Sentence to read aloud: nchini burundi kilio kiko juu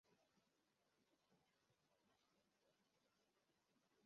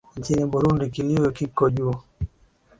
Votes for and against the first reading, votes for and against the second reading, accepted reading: 0, 2, 13, 2, second